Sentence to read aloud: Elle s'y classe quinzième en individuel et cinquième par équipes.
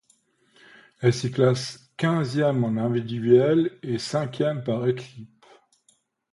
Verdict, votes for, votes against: accepted, 2, 1